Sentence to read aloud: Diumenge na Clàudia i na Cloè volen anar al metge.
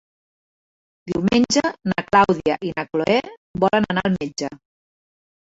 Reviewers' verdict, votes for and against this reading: accepted, 3, 1